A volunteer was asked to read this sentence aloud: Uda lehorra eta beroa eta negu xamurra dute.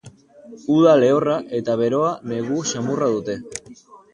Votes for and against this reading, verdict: 4, 2, accepted